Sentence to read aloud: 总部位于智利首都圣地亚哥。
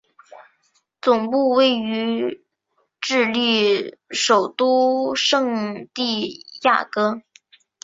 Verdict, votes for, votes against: accepted, 3, 0